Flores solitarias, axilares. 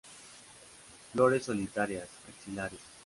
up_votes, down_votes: 2, 0